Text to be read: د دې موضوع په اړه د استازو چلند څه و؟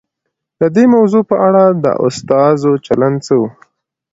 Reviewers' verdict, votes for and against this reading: accepted, 2, 0